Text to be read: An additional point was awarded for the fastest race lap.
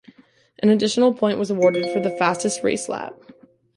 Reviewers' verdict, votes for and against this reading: rejected, 1, 2